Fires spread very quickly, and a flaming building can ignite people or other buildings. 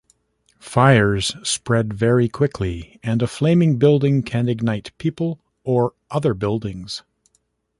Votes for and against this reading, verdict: 1, 2, rejected